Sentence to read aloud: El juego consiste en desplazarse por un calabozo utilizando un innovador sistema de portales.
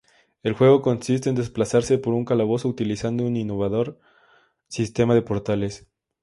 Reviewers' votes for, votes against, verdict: 4, 0, accepted